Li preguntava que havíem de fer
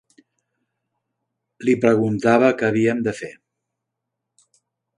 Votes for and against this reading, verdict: 3, 0, accepted